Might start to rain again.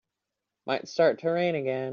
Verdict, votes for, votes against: accepted, 2, 0